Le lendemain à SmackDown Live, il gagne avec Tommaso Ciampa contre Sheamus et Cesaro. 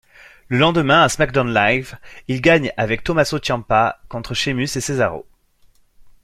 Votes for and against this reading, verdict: 2, 0, accepted